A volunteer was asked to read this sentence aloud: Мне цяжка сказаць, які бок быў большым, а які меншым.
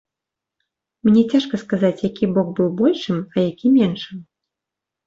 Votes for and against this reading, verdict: 3, 0, accepted